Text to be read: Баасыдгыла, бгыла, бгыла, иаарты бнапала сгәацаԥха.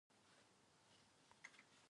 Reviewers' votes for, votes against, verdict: 0, 2, rejected